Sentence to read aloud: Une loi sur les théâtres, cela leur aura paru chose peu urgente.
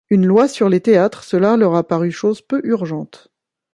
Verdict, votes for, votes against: rejected, 1, 2